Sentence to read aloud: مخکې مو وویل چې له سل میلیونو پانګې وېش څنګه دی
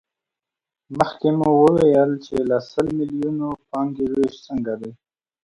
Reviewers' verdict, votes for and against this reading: accepted, 2, 0